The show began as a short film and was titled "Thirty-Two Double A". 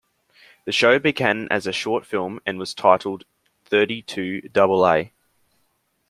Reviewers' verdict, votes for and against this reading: accepted, 2, 0